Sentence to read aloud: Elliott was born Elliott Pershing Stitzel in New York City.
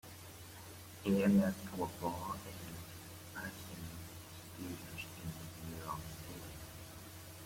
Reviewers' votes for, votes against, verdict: 0, 2, rejected